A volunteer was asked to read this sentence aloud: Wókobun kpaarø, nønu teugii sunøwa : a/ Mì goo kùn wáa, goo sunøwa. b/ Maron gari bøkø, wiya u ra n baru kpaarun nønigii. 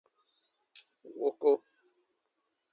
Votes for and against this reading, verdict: 0, 2, rejected